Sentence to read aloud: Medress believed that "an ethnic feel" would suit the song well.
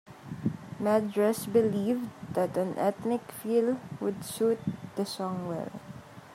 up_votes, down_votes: 2, 0